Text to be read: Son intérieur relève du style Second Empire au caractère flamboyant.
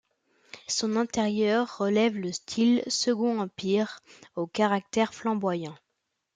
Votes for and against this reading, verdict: 0, 2, rejected